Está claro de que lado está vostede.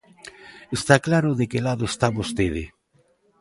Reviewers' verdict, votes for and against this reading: accepted, 2, 0